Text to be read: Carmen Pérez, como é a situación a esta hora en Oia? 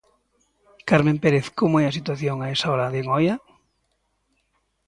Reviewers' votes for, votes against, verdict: 1, 2, rejected